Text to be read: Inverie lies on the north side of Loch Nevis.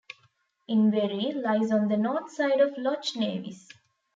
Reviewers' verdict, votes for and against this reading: rejected, 0, 2